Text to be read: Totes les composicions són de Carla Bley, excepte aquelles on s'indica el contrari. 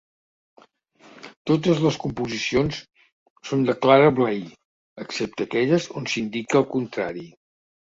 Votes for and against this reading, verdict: 0, 3, rejected